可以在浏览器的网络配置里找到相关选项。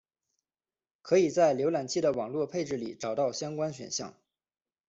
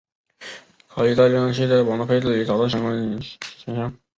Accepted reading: first